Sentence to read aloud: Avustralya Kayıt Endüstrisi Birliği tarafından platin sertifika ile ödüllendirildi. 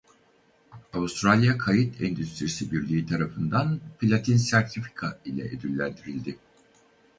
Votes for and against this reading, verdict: 2, 2, rejected